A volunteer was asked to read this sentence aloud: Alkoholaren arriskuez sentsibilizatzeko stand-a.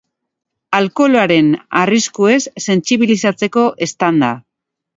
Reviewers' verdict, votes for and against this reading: accepted, 2, 0